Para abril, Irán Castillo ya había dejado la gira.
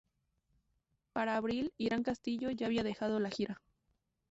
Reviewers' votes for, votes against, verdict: 2, 0, accepted